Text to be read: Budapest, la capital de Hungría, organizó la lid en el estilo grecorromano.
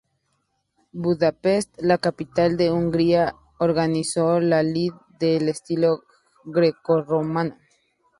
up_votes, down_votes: 2, 2